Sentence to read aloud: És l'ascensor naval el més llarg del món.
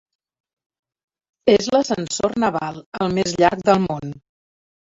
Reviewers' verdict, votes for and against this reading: accepted, 4, 2